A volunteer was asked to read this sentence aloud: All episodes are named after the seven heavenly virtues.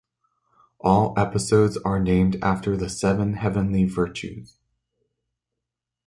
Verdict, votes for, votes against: accepted, 2, 0